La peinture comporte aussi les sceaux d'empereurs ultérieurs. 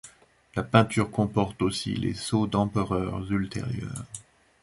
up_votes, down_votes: 2, 0